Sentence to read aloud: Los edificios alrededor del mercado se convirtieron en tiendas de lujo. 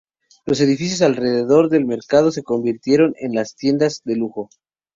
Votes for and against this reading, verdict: 0, 4, rejected